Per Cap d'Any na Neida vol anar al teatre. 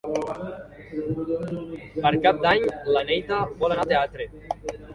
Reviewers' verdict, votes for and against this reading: rejected, 0, 2